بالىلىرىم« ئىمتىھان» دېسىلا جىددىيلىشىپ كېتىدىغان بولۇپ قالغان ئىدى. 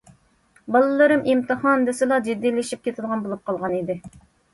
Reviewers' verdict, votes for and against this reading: accepted, 2, 0